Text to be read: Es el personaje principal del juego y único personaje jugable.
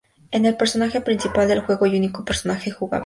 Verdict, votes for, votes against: accepted, 2, 0